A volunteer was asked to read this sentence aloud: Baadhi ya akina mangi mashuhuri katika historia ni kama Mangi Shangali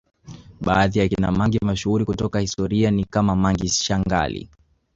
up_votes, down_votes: 4, 3